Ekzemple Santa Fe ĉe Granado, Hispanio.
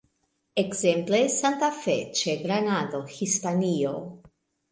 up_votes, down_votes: 2, 0